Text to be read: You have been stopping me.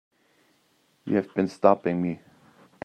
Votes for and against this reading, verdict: 2, 0, accepted